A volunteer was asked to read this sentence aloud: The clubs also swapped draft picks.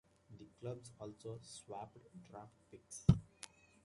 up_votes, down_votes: 2, 0